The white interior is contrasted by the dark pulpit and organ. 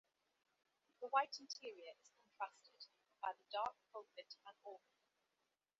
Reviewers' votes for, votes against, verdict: 2, 1, accepted